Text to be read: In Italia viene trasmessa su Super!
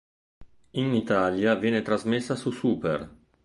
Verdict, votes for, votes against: accepted, 4, 0